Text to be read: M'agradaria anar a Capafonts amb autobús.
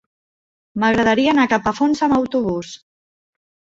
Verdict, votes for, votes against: accepted, 4, 0